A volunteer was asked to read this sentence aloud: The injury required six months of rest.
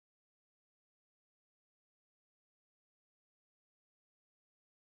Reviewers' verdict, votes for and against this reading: rejected, 0, 2